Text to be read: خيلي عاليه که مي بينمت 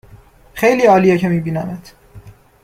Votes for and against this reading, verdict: 2, 0, accepted